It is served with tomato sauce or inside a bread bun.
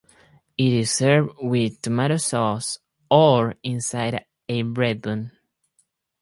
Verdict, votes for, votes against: rejected, 2, 2